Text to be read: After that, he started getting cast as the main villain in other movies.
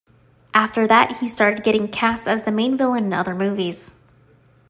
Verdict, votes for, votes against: accepted, 2, 0